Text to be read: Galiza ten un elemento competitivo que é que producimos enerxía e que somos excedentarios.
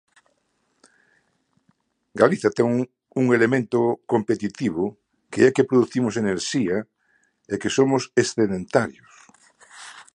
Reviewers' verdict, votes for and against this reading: rejected, 0, 2